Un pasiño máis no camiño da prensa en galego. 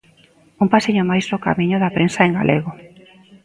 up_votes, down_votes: 2, 0